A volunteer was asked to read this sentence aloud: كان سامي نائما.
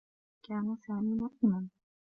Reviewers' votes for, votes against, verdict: 0, 2, rejected